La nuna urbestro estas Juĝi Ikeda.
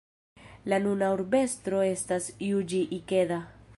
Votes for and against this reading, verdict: 2, 1, accepted